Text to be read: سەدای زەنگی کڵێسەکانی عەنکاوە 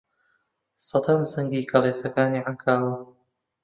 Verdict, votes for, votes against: accepted, 2, 1